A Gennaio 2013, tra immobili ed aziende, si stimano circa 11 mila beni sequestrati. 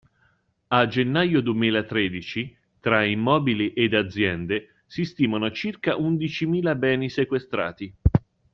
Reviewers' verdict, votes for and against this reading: rejected, 0, 2